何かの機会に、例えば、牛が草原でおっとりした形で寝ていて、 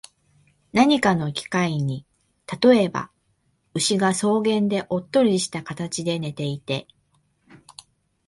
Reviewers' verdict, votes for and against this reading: accepted, 2, 0